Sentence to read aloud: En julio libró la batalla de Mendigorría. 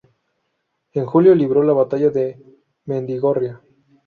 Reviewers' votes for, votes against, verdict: 0, 2, rejected